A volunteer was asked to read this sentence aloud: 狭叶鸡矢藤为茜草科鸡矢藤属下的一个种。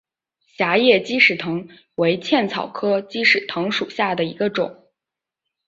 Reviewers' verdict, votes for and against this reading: accepted, 3, 1